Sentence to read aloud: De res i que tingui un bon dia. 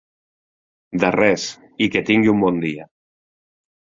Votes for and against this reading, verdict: 2, 0, accepted